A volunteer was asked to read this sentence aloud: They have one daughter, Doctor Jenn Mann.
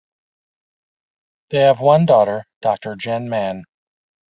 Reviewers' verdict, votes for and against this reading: rejected, 1, 2